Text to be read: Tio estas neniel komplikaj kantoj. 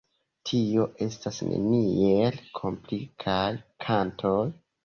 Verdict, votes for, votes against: accepted, 2, 1